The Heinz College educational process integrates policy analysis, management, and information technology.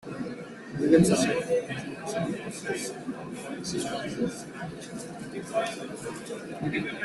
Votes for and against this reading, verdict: 0, 3, rejected